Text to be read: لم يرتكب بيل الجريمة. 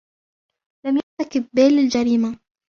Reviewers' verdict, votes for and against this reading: rejected, 1, 2